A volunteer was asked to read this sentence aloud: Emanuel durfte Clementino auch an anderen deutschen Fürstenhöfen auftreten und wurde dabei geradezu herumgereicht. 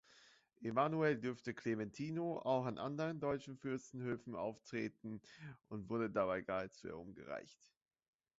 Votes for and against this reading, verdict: 1, 2, rejected